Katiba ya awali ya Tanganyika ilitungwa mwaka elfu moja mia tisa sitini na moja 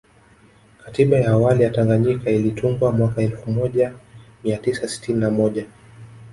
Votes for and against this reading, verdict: 2, 0, accepted